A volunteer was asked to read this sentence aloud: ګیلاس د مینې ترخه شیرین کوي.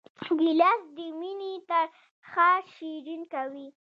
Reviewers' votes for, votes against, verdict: 3, 1, accepted